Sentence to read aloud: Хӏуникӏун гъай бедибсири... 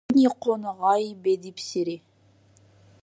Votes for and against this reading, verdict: 0, 2, rejected